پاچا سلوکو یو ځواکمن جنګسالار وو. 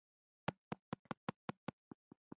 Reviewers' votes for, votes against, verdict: 1, 2, rejected